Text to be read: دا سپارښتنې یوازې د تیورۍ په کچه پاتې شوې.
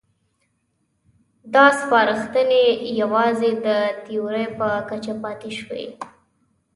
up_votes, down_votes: 2, 0